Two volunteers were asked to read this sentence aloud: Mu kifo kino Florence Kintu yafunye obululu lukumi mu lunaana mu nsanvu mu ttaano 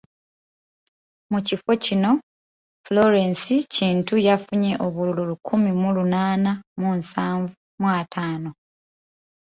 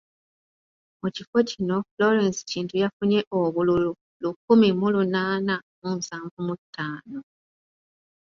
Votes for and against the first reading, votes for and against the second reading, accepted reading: 0, 2, 2, 0, second